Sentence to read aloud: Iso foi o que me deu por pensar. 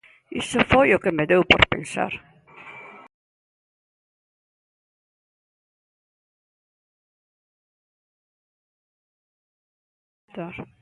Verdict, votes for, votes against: rejected, 1, 2